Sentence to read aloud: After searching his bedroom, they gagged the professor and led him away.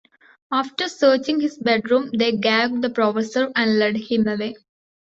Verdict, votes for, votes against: accepted, 2, 1